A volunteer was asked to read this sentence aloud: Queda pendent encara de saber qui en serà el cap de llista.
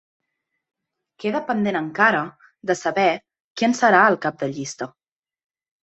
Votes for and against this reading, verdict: 2, 0, accepted